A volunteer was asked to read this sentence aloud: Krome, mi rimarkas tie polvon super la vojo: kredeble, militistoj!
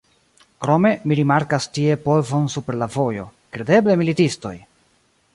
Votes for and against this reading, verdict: 1, 2, rejected